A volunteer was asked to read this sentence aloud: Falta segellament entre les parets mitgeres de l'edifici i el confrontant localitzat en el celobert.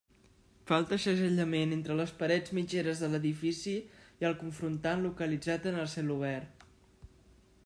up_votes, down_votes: 2, 0